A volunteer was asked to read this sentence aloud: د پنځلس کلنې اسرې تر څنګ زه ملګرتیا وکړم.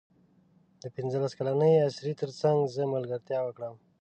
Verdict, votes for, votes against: accepted, 2, 0